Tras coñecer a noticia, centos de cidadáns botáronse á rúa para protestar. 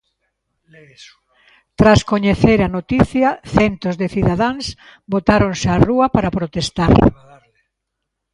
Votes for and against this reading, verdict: 1, 2, rejected